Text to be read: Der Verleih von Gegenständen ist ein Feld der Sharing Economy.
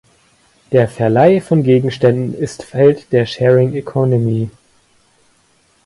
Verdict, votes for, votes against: rejected, 0, 2